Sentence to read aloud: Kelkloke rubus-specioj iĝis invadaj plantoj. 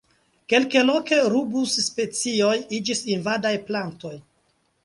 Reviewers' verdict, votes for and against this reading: rejected, 1, 2